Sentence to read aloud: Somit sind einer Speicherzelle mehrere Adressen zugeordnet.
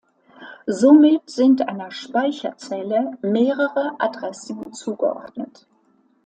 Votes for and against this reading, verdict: 2, 0, accepted